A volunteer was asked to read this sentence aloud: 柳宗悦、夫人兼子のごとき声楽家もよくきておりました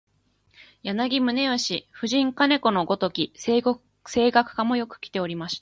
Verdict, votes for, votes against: rejected, 0, 2